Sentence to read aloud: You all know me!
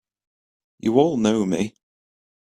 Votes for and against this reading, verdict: 3, 0, accepted